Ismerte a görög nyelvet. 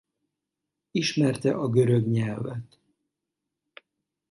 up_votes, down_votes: 4, 0